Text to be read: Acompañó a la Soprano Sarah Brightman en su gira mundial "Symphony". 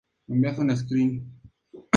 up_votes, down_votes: 0, 2